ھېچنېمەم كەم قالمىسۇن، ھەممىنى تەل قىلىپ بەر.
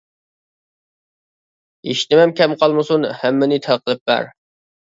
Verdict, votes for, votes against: accepted, 2, 1